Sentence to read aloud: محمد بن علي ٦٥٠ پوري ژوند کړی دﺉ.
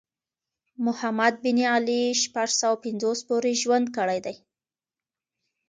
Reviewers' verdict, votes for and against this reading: rejected, 0, 2